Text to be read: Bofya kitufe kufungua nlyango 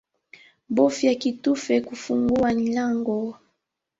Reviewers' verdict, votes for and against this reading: accepted, 2, 0